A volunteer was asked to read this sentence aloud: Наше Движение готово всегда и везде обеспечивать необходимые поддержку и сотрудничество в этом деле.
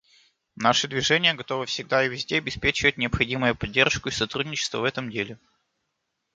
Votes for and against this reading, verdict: 2, 1, accepted